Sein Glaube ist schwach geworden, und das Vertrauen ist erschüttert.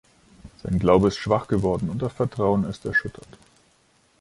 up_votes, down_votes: 2, 0